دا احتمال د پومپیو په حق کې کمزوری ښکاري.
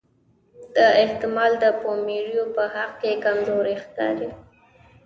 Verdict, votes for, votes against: accepted, 2, 0